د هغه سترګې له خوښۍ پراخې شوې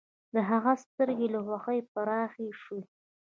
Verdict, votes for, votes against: rejected, 0, 2